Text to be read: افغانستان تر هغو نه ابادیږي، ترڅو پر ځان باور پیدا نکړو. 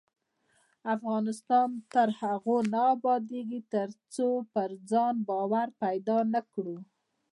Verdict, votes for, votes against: rejected, 1, 2